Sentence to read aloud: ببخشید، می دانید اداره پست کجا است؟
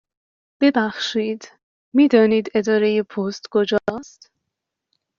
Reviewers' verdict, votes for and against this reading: accepted, 2, 1